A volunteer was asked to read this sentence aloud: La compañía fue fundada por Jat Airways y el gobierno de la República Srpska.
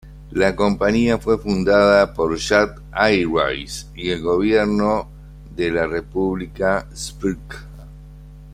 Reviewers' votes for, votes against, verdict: 2, 0, accepted